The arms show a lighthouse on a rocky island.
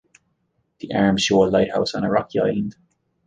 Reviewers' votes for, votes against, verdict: 2, 0, accepted